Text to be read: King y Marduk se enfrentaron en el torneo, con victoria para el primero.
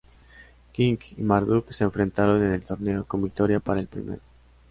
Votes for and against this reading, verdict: 2, 0, accepted